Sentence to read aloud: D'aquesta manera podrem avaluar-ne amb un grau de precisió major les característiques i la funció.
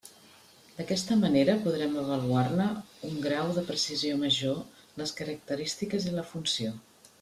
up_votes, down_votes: 0, 2